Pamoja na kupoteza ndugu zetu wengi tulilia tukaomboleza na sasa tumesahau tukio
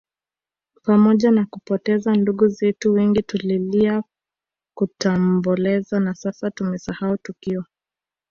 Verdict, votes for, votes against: accepted, 2, 1